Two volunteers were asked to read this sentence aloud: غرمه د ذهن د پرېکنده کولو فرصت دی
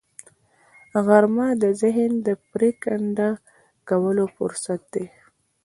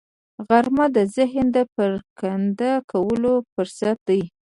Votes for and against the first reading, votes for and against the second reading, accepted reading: 2, 0, 1, 2, first